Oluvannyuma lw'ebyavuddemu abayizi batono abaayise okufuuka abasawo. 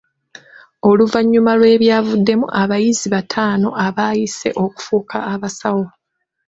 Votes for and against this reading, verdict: 0, 2, rejected